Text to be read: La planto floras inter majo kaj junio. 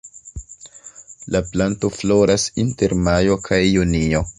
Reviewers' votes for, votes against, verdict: 2, 0, accepted